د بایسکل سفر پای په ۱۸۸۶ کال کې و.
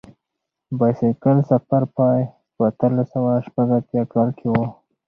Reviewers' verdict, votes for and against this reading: rejected, 0, 2